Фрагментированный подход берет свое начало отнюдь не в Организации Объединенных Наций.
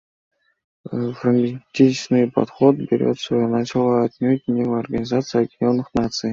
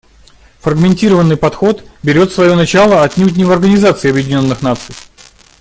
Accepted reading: second